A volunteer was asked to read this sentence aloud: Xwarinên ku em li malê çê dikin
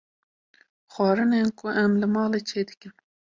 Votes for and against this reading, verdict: 2, 0, accepted